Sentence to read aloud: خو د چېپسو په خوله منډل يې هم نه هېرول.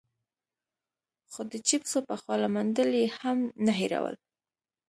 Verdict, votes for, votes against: accepted, 2, 0